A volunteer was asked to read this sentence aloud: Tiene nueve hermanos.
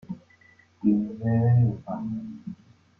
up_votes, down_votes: 1, 3